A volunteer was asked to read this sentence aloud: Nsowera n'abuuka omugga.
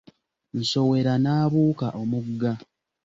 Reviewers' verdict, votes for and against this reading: accepted, 3, 0